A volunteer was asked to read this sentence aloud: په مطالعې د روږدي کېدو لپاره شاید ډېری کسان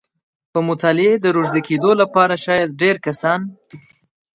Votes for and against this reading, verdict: 1, 2, rejected